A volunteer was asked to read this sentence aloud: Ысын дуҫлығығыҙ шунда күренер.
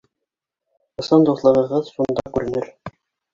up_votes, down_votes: 1, 2